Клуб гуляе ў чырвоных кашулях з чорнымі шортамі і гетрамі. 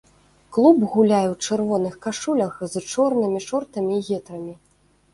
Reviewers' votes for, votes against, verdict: 2, 0, accepted